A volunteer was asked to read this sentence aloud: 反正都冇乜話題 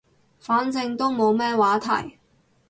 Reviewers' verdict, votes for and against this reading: rejected, 2, 2